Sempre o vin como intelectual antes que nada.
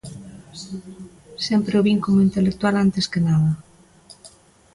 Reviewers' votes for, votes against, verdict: 2, 0, accepted